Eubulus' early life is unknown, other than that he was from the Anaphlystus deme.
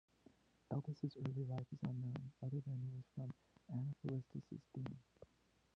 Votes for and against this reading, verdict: 1, 2, rejected